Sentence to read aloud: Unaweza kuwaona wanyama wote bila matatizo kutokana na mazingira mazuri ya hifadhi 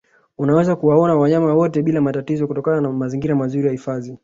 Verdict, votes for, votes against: accepted, 2, 1